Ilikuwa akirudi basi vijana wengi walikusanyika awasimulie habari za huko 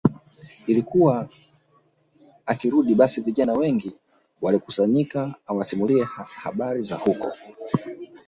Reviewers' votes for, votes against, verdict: 1, 2, rejected